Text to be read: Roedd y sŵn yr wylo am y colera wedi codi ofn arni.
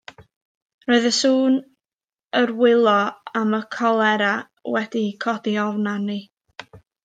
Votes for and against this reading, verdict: 1, 2, rejected